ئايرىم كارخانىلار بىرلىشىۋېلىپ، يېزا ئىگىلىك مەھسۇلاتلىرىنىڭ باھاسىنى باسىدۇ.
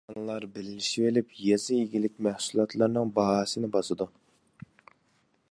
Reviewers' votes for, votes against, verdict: 0, 2, rejected